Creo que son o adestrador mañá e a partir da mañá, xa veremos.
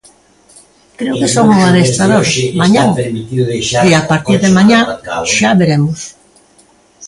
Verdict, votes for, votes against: rejected, 1, 2